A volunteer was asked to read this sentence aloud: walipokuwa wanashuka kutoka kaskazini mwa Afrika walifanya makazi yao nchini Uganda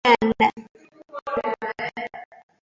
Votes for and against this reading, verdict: 0, 2, rejected